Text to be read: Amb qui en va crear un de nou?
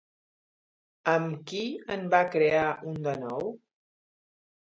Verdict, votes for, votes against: accepted, 3, 0